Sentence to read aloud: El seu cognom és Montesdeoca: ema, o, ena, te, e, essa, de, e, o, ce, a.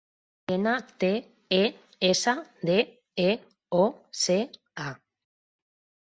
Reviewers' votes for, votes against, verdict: 0, 2, rejected